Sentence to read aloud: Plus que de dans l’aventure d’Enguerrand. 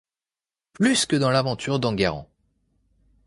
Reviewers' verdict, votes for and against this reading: rejected, 0, 2